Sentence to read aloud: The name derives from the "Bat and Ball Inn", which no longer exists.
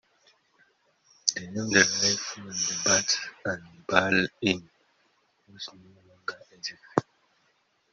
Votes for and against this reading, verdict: 0, 2, rejected